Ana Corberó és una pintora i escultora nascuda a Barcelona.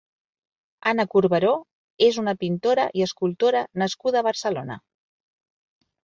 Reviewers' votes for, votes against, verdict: 4, 0, accepted